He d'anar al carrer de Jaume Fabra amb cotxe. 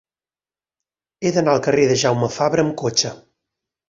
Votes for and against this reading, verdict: 6, 2, accepted